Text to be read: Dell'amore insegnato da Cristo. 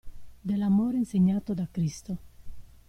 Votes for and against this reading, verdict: 2, 0, accepted